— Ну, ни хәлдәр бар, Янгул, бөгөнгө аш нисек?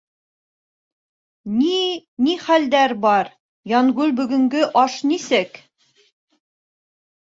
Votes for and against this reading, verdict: 1, 2, rejected